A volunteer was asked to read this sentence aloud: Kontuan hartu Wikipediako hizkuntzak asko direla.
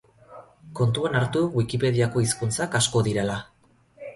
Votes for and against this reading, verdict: 4, 0, accepted